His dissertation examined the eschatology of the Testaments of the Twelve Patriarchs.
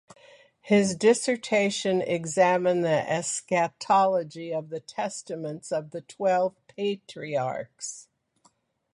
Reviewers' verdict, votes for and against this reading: accepted, 2, 0